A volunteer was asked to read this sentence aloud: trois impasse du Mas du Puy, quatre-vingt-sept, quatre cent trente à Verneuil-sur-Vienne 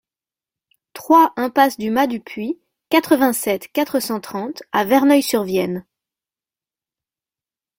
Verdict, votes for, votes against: accepted, 2, 0